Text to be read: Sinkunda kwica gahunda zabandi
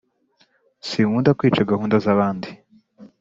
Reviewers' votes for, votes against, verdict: 2, 0, accepted